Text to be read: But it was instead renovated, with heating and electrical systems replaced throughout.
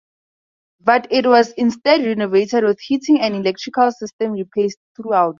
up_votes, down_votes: 2, 2